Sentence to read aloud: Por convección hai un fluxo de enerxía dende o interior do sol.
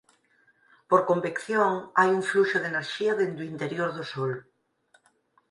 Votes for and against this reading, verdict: 4, 0, accepted